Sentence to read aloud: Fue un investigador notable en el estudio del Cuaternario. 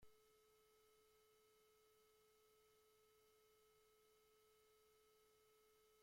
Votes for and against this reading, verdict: 0, 2, rejected